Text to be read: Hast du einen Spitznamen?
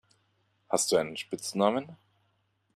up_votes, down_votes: 2, 0